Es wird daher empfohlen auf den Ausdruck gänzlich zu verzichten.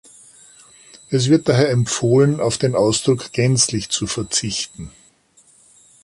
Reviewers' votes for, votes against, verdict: 2, 0, accepted